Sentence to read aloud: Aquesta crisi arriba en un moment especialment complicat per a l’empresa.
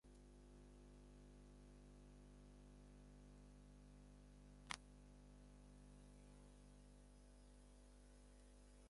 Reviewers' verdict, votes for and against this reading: rejected, 0, 6